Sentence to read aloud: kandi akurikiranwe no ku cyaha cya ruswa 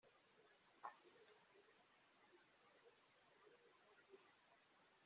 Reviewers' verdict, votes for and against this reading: rejected, 0, 2